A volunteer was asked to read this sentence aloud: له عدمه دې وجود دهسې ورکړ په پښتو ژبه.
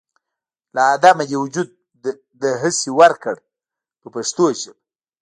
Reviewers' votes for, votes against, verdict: 1, 2, rejected